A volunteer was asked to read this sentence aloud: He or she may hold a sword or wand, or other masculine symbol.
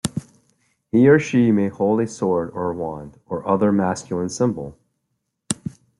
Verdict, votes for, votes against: accepted, 2, 0